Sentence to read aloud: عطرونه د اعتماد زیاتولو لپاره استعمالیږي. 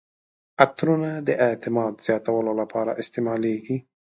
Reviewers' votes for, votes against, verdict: 3, 0, accepted